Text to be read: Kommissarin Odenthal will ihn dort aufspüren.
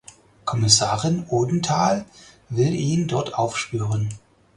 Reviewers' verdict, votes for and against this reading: accepted, 4, 0